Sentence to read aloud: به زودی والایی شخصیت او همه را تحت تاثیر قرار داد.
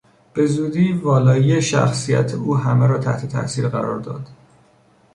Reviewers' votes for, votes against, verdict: 2, 0, accepted